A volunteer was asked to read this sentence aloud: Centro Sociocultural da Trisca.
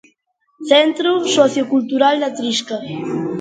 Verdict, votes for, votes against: rejected, 1, 2